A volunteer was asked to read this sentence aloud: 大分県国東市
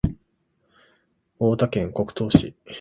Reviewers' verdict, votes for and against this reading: rejected, 1, 2